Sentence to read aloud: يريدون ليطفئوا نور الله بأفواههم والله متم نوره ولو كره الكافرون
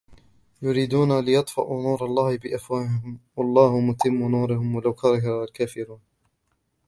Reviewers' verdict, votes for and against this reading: rejected, 1, 2